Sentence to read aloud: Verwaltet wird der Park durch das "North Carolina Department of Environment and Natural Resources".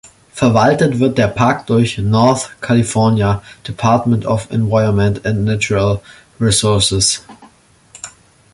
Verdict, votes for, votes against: rejected, 0, 2